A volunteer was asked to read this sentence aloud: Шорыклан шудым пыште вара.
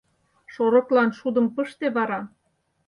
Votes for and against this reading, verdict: 6, 0, accepted